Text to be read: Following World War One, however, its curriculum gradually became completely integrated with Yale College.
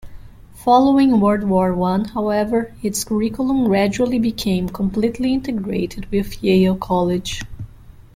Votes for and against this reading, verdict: 2, 0, accepted